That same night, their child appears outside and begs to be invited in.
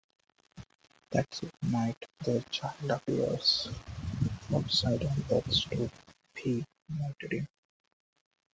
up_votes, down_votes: 1, 2